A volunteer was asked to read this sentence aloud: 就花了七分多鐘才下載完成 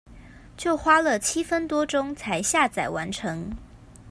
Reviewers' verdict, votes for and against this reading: accepted, 2, 0